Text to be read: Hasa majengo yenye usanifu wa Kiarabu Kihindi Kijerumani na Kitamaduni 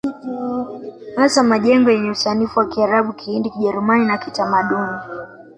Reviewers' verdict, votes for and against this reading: rejected, 0, 2